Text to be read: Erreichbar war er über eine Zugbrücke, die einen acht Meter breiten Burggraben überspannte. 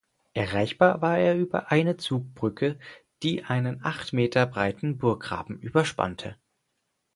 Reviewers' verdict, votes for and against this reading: accepted, 4, 0